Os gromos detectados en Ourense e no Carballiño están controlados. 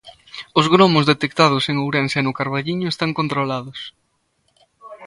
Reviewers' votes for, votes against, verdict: 2, 0, accepted